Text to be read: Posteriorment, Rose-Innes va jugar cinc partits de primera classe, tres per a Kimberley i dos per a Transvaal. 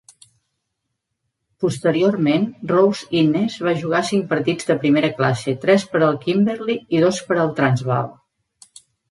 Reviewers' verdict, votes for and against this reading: rejected, 0, 2